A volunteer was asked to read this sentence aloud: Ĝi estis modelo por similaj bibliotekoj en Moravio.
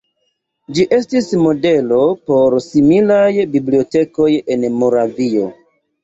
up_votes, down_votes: 2, 1